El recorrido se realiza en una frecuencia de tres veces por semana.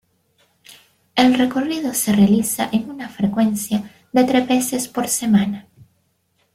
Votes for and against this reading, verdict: 2, 1, accepted